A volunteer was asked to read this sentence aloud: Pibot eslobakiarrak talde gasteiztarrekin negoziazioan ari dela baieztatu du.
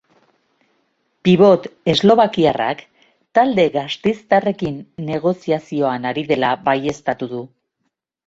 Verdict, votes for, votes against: accepted, 2, 0